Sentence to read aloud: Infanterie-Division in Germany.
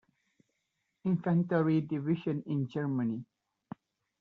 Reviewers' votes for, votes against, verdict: 2, 0, accepted